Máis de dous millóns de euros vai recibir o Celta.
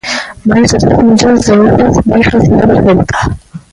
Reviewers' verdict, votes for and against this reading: rejected, 0, 2